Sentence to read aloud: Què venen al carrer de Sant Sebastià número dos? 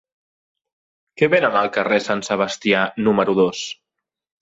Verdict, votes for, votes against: rejected, 1, 2